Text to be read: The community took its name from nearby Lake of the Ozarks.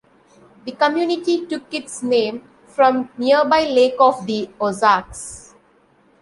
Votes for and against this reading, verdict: 2, 0, accepted